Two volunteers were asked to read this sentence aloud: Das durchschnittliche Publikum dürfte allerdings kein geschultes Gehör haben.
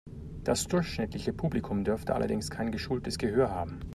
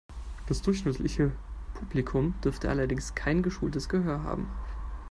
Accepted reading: first